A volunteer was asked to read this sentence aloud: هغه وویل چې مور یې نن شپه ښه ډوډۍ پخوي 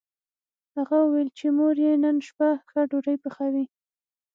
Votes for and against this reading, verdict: 6, 0, accepted